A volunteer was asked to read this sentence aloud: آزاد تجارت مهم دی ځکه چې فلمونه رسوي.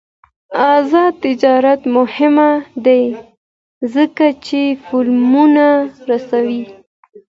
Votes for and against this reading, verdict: 0, 2, rejected